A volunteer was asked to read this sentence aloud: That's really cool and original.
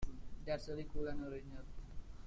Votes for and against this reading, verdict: 2, 0, accepted